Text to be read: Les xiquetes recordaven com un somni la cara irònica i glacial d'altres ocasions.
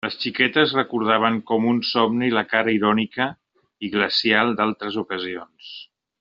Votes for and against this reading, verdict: 3, 0, accepted